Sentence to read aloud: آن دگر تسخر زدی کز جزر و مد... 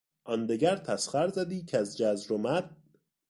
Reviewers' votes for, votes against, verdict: 2, 0, accepted